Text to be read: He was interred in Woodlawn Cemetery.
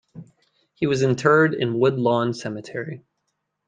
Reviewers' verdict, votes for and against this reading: accepted, 2, 0